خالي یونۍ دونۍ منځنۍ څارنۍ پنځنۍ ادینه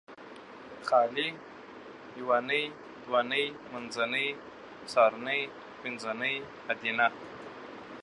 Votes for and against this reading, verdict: 2, 0, accepted